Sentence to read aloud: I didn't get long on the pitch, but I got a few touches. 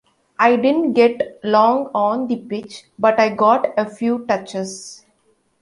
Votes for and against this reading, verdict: 2, 0, accepted